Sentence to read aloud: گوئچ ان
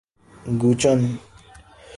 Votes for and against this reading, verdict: 2, 0, accepted